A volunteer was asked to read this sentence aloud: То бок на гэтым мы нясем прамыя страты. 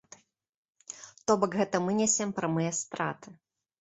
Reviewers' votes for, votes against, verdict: 0, 2, rejected